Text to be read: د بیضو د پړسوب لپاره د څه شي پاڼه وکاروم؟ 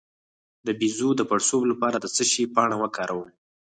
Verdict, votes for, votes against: rejected, 2, 4